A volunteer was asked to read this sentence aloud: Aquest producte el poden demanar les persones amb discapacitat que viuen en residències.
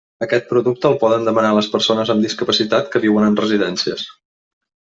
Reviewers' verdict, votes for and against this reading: accepted, 3, 0